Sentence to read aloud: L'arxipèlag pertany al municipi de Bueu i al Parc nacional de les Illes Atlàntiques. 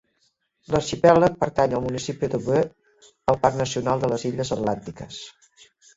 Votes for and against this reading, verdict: 0, 2, rejected